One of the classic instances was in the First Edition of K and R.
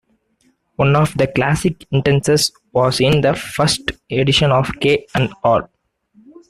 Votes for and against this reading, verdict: 2, 0, accepted